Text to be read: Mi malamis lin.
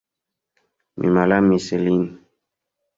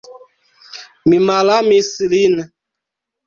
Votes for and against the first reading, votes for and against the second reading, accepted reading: 1, 2, 3, 1, second